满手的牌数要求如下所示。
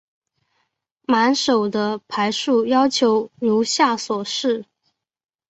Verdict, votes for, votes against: accepted, 2, 0